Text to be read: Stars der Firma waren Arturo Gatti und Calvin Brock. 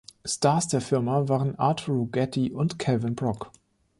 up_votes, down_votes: 0, 2